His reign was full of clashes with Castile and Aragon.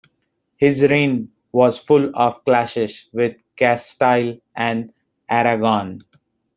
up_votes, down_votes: 0, 2